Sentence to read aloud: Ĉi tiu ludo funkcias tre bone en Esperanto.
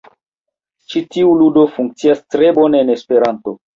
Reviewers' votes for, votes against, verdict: 1, 2, rejected